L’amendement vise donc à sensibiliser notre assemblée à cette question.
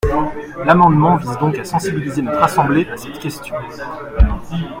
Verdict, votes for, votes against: rejected, 1, 2